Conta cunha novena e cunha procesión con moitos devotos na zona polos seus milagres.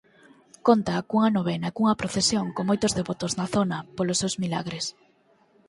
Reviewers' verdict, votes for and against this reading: accepted, 4, 0